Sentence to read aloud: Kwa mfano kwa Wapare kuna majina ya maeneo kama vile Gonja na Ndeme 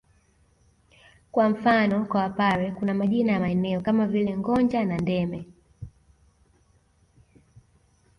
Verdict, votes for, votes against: rejected, 1, 2